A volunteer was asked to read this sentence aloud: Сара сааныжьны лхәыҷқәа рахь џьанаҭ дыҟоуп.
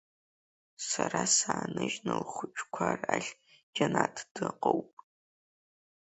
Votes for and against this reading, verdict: 1, 2, rejected